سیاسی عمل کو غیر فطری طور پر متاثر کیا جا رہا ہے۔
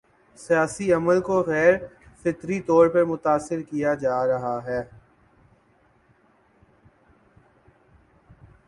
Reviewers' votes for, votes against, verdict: 13, 2, accepted